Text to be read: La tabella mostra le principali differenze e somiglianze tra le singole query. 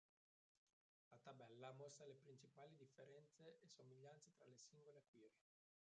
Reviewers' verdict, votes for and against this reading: rejected, 0, 3